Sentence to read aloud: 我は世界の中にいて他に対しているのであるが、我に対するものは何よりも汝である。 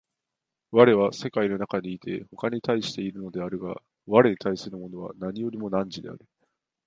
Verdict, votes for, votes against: accepted, 2, 0